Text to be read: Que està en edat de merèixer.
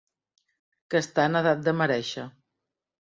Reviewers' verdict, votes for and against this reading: accepted, 3, 0